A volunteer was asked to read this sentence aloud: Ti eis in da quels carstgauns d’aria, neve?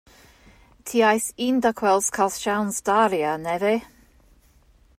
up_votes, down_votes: 0, 2